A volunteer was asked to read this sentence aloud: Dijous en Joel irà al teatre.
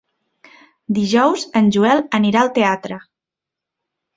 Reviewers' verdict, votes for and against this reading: rejected, 0, 2